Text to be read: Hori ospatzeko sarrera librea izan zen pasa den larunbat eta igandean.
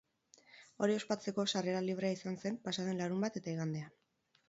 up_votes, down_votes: 2, 2